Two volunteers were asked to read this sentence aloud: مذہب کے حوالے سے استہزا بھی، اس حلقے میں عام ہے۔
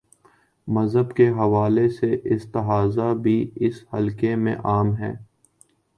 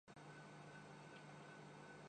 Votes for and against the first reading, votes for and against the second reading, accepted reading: 2, 0, 0, 3, first